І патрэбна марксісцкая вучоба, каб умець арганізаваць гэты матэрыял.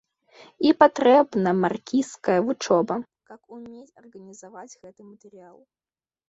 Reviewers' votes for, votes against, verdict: 0, 2, rejected